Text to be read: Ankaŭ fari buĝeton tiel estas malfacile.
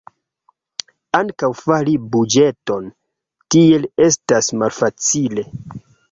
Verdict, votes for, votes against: rejected, 1, 2